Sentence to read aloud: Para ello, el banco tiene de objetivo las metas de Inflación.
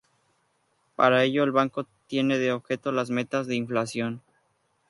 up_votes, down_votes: 0, 2